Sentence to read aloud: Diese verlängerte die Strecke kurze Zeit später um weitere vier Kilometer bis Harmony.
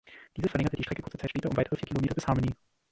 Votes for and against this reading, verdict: 0, 2, rejected